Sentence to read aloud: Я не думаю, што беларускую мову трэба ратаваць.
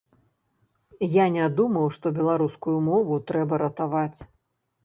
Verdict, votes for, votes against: rejected, 1, 2